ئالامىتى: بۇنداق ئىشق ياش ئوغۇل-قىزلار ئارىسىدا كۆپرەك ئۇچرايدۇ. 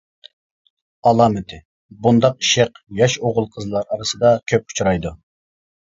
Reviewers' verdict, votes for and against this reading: rejected, 0, 2